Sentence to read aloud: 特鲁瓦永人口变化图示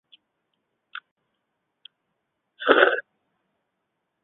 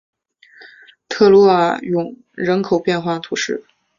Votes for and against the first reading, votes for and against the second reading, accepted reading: 0, 2, 3, 0, second